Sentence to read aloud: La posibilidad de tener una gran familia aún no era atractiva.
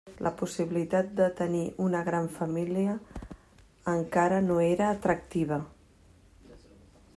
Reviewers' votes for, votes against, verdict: 1, 2, rejected